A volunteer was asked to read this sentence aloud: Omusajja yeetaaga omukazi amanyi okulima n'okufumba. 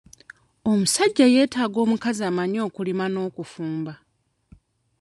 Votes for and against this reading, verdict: 0, 2, rejected